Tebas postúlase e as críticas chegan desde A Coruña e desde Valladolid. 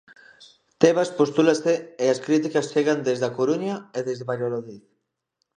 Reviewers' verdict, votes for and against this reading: rejected, 0, 2